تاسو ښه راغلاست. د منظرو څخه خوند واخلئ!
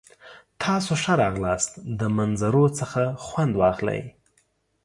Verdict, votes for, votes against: accepted, 2, 0